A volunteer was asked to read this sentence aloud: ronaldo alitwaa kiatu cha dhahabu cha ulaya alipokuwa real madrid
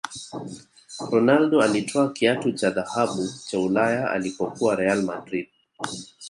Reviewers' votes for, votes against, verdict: 1, 2, rejected